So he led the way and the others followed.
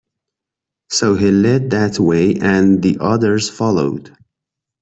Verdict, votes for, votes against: rejected, 1, 2